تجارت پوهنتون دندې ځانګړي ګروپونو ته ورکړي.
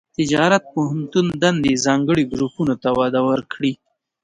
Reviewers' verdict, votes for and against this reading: rejected, 1, 2